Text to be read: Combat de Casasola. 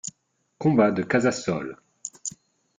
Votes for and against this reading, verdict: 1, 2, rejected